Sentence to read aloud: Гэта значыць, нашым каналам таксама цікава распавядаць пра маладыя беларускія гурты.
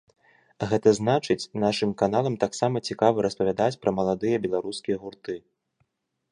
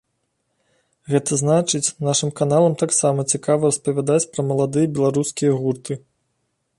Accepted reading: first